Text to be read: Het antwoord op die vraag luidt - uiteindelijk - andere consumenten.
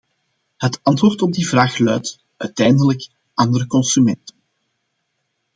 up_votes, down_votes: 2, 0